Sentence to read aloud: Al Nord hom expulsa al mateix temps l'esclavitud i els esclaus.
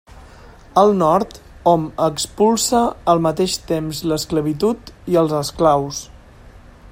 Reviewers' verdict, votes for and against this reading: accepted, 3, 0